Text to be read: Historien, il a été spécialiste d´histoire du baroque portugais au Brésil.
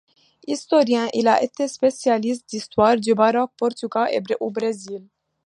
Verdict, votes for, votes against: accepted, 2, 1